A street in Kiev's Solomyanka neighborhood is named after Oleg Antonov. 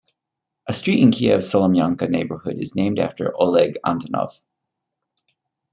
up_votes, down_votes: 2, 0